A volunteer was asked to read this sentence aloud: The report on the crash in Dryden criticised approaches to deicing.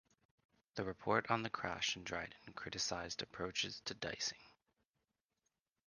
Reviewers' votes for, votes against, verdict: 1, 2, rejected